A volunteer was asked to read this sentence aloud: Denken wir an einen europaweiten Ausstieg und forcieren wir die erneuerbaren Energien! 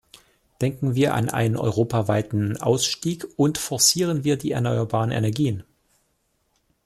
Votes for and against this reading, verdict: 2, 0, accepted